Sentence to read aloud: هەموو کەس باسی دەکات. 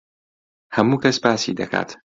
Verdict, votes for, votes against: accepted, 2, 0